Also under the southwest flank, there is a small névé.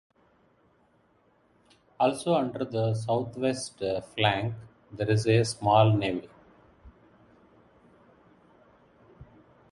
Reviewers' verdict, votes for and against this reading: rejected, 0, 2